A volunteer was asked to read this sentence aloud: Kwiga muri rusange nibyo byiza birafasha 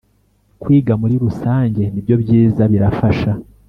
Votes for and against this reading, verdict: 2, 0, accepted